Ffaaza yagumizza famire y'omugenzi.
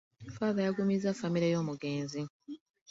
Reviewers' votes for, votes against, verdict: 1, 2, rejected